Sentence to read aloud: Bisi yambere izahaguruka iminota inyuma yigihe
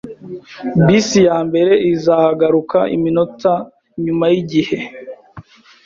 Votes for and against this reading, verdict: 0, 2, rejected